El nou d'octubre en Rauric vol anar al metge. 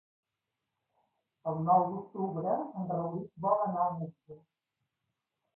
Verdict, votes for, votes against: rejected, 0, 2